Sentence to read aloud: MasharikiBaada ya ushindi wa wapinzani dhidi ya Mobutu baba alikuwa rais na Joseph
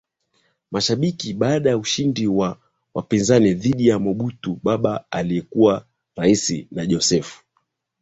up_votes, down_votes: 2, 0